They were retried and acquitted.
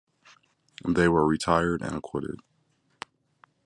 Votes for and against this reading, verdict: 1, 2, rejected